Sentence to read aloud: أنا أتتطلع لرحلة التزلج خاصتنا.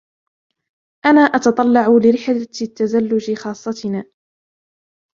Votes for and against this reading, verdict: 2, 0, accepted